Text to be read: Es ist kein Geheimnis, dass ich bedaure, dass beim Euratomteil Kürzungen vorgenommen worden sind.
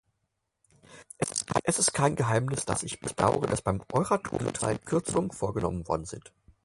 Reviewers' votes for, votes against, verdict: 0, 4, rejected